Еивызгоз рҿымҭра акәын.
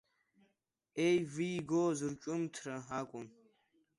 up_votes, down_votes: 1, 2